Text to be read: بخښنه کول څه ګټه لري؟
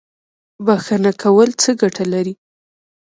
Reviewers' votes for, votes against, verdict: 0, 2, rejected